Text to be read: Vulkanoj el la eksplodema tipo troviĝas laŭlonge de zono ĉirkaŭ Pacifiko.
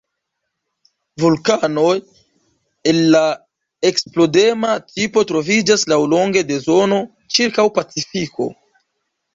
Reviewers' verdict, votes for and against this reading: accepted, 2, 0